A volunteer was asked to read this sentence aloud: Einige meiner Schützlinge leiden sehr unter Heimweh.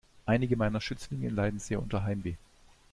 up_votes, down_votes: 2, 1